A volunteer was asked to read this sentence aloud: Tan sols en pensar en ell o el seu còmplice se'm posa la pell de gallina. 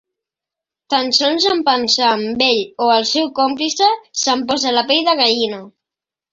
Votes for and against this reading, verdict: 4, 3, accepted